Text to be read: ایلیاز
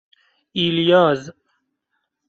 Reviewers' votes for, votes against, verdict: 2, 0, accepted